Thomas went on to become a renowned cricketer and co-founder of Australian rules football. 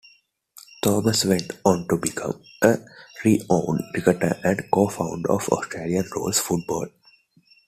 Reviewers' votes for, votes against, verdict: 0, 2, rejected